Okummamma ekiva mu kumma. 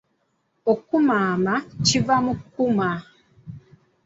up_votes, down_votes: 2, 3